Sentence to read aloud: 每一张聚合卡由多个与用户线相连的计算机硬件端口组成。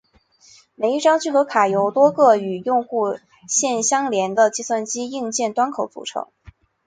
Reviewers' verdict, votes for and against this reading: accepted, 9, 0